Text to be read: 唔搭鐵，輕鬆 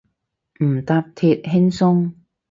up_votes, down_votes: 0, 2